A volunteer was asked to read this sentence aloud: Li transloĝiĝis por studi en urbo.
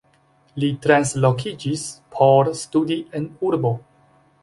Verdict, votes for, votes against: rejected, 0, 2